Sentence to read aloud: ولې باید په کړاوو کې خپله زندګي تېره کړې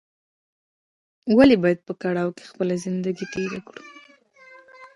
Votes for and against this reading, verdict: 1, 2, rejected